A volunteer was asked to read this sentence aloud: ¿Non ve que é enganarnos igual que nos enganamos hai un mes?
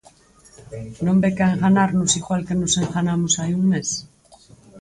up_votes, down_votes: 2, 4